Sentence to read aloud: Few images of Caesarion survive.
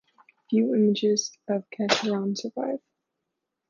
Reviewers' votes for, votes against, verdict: 1, 2, rejected